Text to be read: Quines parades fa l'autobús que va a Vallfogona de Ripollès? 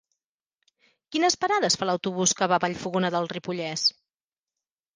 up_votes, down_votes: 0, 2